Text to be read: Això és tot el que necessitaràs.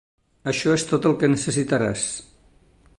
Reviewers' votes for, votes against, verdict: 3, 1, accepted